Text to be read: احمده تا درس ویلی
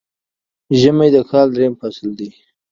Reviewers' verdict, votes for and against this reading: rejected, 1, 2